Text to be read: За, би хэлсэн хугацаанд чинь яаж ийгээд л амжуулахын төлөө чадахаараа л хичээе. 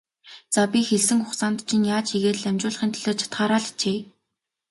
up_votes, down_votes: 2, 0